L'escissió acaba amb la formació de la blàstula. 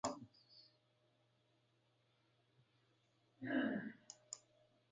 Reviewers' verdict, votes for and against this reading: rejected, 0, 2